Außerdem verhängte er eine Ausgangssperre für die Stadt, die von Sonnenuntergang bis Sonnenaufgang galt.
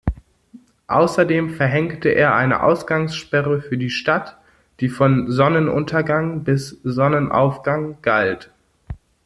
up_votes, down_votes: 2, 0